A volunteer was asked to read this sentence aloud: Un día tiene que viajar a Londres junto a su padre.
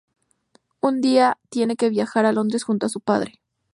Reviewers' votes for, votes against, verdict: 2, 0, accepted